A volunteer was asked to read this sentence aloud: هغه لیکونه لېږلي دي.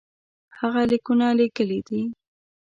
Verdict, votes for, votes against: accepted, 2, 0